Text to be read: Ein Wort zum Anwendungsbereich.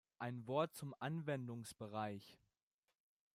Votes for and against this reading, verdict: 2, 0, accepted